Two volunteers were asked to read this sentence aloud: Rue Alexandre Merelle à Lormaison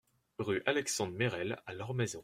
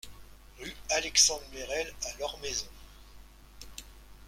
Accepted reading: first